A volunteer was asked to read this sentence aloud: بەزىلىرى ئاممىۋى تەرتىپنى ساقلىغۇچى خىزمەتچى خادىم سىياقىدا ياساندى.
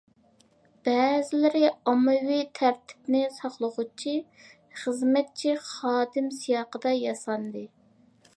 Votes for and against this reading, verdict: 2, 0, accepted